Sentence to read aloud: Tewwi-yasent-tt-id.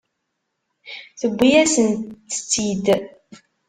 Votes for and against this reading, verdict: 1, 2, rejected